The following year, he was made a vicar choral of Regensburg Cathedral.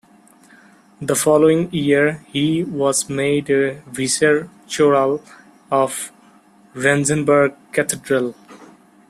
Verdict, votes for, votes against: rejected, 0, 2